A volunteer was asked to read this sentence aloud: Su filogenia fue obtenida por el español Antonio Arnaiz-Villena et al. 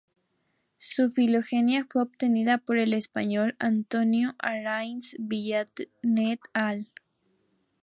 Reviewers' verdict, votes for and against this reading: accepted, 2, 0